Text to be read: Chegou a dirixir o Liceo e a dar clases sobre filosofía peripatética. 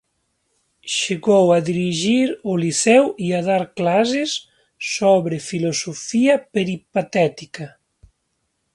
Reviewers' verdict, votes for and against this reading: rejected, 1, 2